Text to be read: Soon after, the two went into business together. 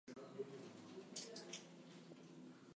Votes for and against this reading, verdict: 0, 2, rejected